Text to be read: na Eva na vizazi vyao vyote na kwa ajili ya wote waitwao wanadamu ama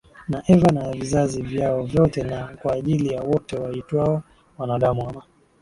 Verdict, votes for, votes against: accepted, 2, 0